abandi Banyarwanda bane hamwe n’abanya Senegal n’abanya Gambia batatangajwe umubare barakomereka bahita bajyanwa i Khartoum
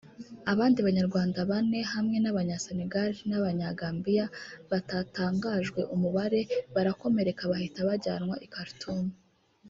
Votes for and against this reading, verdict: 1, 2, rejected